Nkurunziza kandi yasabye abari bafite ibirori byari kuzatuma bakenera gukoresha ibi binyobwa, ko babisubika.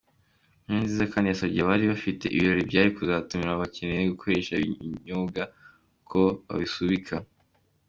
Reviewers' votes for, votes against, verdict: 2, 1, accepted